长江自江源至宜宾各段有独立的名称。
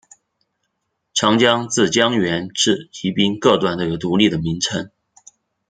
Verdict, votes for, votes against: rejected, 0, 2